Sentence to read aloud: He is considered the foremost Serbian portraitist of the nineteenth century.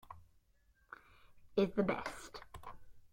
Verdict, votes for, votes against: rejected, 0, 2